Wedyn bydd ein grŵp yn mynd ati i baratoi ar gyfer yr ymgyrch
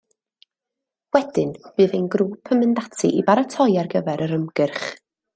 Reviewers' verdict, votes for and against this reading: accepted, 2, 0